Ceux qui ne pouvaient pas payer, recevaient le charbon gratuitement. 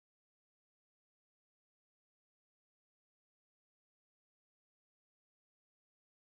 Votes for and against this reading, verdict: 0, 2, rejected